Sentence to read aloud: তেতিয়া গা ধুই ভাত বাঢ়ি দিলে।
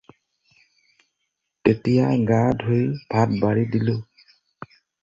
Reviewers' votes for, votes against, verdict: 0, 4, rejected